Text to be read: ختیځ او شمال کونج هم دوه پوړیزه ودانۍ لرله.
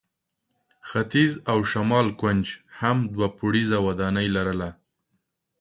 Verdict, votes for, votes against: accepted, 2, 0